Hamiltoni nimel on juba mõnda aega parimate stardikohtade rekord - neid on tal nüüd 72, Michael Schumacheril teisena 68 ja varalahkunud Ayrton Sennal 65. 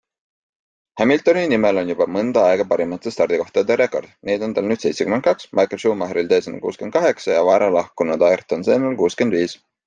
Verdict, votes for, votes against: rejected, 0, 2